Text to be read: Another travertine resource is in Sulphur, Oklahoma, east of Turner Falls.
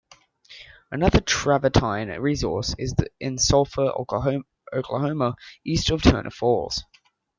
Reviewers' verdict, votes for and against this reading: rejected, 0, 2